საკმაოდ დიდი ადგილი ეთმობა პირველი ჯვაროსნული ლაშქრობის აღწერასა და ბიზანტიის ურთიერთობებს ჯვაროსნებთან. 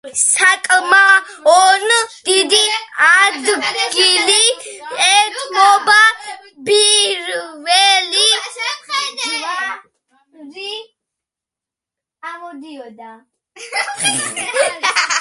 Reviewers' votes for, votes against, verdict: 0, 2, rejected